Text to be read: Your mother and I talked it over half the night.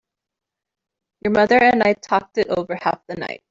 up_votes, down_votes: 2, 1